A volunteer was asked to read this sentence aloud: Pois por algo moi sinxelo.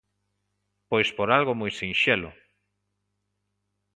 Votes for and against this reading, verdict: 2, 0, accepted